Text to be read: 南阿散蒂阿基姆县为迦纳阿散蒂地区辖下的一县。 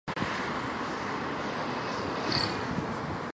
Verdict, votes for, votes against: rejected, 0, 3